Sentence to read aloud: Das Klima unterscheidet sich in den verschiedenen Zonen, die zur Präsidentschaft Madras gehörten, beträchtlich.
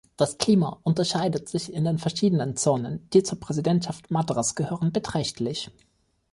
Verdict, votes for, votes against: rejected, 0, 2